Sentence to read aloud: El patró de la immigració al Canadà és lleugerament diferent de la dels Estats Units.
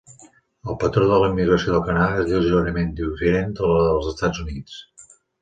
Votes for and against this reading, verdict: 1, 2, rejected